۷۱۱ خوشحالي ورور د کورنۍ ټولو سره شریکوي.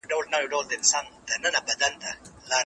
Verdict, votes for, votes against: rejected, 0, 2